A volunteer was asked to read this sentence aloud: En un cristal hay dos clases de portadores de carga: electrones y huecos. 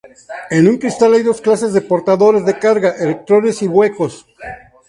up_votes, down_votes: 2, 2